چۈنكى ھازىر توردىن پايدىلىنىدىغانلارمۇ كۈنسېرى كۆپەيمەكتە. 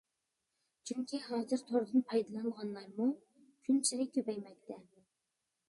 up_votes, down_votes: 0, 2